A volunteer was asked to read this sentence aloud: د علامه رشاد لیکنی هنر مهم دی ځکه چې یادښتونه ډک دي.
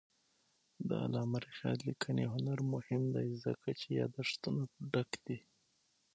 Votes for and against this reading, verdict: 3, 6, rejected